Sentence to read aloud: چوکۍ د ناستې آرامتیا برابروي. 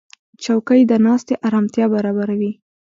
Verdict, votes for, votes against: accepted, 2, 0